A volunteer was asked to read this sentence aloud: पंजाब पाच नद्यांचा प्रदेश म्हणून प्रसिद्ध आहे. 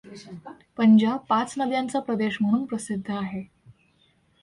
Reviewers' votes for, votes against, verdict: 2, 0, accepted